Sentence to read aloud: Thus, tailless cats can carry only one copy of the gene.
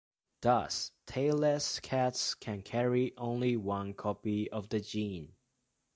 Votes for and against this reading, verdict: 2, 0, accepted